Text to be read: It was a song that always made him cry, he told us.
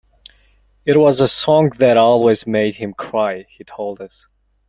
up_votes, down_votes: 2, 0